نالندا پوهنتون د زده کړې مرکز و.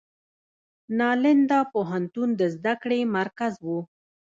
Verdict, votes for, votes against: rejected, 0, 2